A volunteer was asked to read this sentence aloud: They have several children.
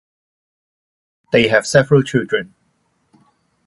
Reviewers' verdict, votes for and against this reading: accepted, 2, 0